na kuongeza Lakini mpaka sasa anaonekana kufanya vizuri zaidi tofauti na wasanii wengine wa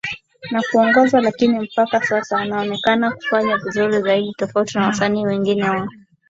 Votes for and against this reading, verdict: 11, 3, accepted